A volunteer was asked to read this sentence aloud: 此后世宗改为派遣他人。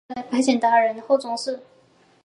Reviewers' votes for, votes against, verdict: 4, 5, rejected